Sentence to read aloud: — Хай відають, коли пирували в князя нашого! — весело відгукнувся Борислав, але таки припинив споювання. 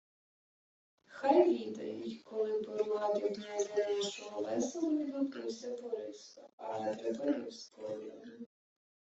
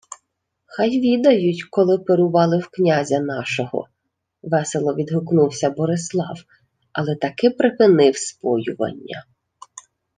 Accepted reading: second